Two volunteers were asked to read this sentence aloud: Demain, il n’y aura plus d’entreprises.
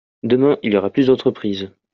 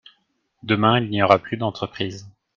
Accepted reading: second